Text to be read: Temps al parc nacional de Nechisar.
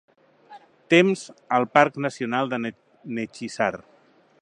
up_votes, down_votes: 1, 2